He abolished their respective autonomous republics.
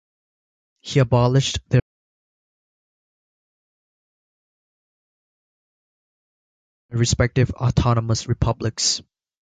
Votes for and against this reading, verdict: 1, 3, rejected